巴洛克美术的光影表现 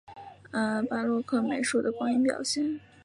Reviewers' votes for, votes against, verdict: 4, 0, accepted